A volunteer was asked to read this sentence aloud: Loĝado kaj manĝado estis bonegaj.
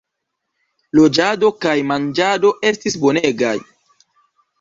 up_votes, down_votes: 2, 0